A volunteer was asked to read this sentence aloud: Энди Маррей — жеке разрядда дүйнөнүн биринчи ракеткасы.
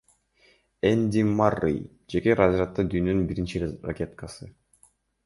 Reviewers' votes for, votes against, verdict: 2, 0, accepted